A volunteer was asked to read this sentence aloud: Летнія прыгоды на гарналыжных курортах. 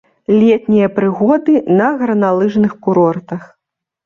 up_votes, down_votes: 2, 0